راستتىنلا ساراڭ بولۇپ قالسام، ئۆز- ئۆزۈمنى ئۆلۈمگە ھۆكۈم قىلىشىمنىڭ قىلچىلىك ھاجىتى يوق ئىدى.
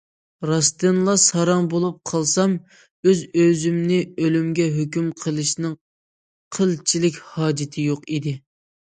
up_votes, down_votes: 0, 2